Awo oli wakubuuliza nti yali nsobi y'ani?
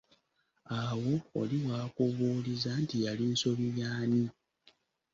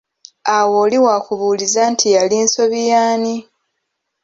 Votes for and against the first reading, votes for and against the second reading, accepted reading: 0, 2, 2, 0, second